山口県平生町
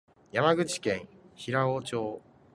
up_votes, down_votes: 2, 0